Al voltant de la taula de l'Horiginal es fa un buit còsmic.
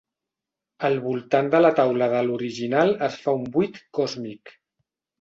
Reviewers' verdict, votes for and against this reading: accepted, 2, 0